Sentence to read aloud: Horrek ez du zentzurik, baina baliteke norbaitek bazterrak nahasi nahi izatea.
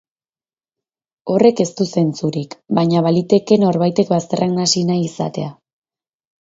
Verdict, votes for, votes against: rejected, 0, 2